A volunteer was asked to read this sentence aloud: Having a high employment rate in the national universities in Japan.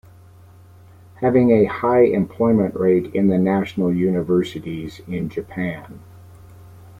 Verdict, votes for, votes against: accepted, 2, 0